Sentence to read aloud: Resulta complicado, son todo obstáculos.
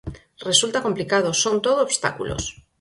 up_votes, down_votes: 4, 0